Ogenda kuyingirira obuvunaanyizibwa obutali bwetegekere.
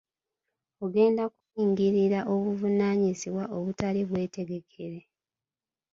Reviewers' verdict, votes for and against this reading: rejected, 1, 2